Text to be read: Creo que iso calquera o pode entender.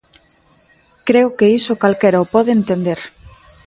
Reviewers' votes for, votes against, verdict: 2, 0, accepted